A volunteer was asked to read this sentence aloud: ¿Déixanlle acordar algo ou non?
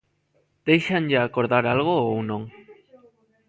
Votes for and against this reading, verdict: 1, 2, rejected